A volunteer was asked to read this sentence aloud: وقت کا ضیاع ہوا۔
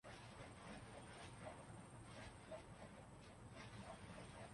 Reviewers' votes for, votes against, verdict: 0, 2, rejected